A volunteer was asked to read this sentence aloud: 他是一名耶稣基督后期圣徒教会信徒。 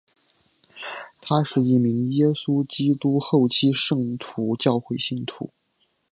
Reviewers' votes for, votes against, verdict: 3, 0, accepted